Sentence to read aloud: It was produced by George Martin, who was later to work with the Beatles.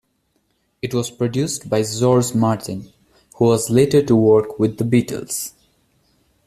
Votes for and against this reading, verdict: 1, 2, rejected